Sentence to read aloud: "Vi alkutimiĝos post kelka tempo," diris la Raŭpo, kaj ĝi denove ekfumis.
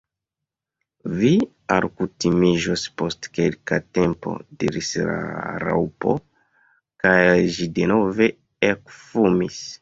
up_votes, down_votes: 1, 2